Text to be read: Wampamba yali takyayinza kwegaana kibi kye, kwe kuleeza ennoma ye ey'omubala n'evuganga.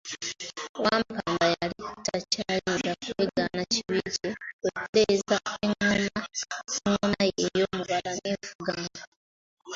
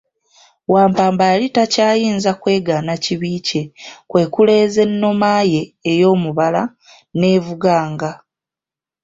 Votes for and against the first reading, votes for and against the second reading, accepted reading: 0, 2, 2, 0, second